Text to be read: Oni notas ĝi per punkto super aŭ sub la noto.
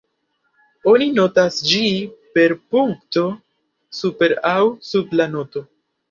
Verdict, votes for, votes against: accepted, 2, 0